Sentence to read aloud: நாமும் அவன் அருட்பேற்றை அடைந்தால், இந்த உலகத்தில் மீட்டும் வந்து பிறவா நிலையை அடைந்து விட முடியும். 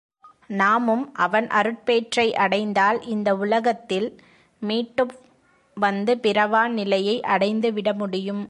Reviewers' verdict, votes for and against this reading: rejected, 1, 2